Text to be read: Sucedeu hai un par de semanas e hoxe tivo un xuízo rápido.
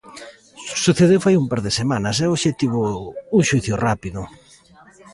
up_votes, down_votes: 0, 2